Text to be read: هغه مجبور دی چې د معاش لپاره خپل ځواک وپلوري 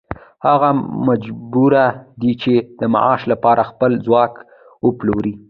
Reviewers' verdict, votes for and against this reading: rejected, 1, 2